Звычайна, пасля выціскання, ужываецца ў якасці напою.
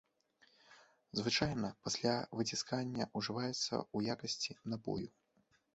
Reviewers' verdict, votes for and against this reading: accepted, 2, 0